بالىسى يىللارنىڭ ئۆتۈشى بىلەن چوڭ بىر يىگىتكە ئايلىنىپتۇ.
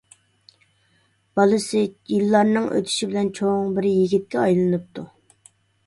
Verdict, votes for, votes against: accepted, 3, 1